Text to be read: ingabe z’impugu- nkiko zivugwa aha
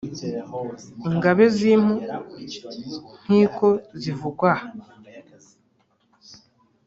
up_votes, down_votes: 0, 2